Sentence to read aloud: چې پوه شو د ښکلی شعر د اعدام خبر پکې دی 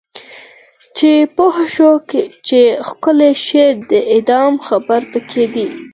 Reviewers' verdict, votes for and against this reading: accepted, 4, 2